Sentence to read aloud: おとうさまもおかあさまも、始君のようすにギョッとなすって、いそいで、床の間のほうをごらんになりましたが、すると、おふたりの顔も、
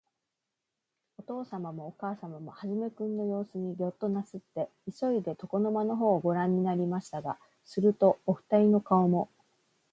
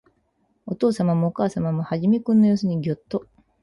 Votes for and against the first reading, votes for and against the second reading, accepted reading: 2, 0, 0, 4, first